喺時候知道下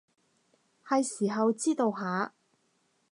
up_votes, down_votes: 0, 2